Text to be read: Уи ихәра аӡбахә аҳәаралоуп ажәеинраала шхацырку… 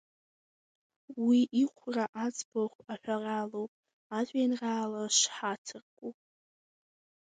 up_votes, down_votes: 0, 2